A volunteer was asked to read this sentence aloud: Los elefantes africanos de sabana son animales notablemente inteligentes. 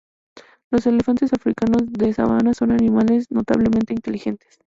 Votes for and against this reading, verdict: 2, 0, accepted